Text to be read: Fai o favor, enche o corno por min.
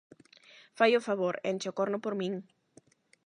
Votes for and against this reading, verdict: 8, 0, accepted